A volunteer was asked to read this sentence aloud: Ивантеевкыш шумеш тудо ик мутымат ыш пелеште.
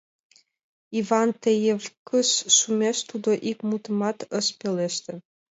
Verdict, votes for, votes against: rejected, 2, 4